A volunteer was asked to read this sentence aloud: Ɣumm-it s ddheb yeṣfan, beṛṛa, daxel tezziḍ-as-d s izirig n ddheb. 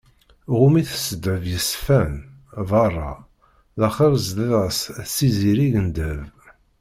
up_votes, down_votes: 0, 2